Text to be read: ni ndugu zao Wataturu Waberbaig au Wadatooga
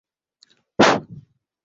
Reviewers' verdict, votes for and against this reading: rejected, 0, 2